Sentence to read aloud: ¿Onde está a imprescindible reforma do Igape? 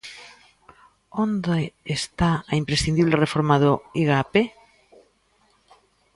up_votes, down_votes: 2, 0